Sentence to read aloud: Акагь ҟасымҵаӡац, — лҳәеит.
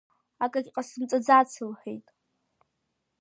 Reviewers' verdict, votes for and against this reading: accepted, 2, 0